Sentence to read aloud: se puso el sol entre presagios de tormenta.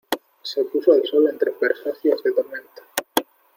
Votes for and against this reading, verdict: 1, 2, rejected